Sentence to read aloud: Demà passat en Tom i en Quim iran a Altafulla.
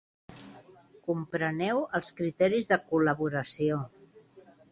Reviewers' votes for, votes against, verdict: 1, 3, rejected